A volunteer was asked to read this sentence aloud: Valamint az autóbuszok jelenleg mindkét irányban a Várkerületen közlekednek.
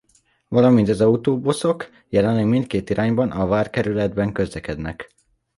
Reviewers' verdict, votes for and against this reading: rejected, 0, 2